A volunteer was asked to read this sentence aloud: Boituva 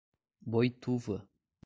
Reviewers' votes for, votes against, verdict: 2, 0, accepted